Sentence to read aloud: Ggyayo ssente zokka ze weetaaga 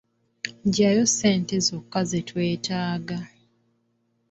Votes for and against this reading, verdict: 2, 1, accepted